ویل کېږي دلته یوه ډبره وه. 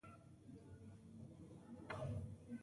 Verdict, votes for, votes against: rejected, 0, 2